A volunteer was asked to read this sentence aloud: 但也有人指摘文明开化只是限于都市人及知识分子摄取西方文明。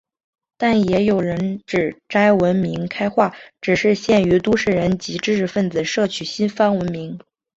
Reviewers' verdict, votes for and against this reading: accepted, 3, 0